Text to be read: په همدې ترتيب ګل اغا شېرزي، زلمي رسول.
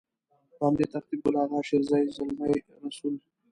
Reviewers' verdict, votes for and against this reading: rejected, 1, 2